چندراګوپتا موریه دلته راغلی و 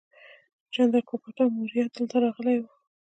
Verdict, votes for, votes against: rejected, 0, 2